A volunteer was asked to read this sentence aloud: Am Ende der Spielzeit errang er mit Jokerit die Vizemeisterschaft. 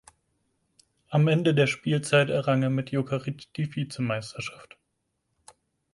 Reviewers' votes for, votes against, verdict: 4, 2, accepted